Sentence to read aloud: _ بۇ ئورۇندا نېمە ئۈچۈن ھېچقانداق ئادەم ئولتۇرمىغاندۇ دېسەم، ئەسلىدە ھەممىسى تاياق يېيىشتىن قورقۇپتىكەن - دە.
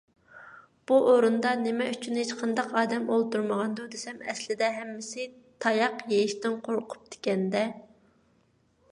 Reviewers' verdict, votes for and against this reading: accepted, 2, 0